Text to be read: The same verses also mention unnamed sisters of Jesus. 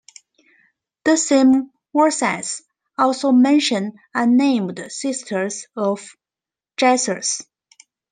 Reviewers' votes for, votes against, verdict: 1, 2, rejected